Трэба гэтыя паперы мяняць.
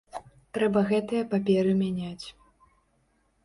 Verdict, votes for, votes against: accepted, 2, 0